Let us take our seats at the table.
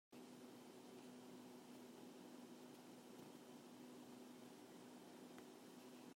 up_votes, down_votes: 0, 2